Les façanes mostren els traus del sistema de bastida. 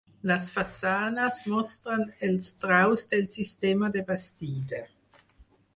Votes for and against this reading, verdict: 4, 0, accepted